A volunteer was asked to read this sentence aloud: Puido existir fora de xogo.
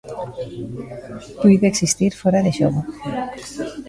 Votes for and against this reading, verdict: 0, 2, rejected